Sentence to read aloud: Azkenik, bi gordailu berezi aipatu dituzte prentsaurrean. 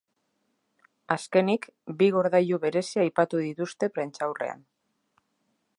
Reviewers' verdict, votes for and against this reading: accepted, 2, 0